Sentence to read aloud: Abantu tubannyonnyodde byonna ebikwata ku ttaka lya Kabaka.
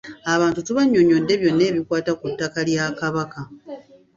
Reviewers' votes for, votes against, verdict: 2, 0, accepted